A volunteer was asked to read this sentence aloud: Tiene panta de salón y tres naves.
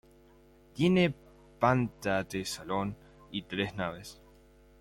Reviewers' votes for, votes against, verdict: 2, 0, accepted